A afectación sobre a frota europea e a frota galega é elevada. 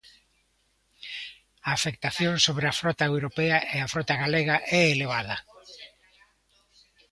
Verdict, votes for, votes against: accepted, 2, 0